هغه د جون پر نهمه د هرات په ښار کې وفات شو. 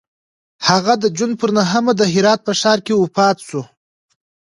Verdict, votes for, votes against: accepted, 2, 0